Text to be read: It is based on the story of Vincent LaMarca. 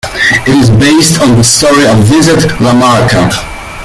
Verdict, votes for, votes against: rejected, 0, 2